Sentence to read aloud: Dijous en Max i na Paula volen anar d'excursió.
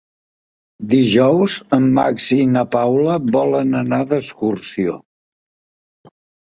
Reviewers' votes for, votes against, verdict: 2, 0, accepted